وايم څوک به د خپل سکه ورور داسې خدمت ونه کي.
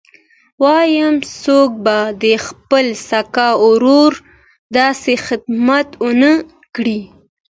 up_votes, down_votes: 2, 0